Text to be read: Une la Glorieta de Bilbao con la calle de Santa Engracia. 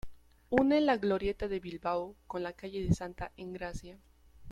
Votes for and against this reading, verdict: 0, 2, rejected